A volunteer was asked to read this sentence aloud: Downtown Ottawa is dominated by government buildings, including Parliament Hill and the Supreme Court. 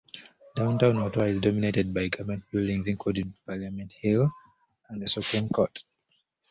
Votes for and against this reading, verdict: 1, 2, rejected